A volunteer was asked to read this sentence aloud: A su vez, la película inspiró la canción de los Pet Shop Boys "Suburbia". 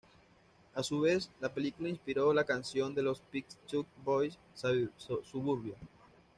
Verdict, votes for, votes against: rejected, 1, 2